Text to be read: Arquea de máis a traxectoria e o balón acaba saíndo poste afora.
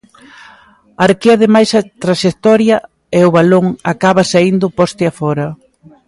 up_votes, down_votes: 2, 0